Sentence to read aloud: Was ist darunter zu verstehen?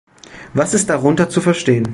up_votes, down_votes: 2, 0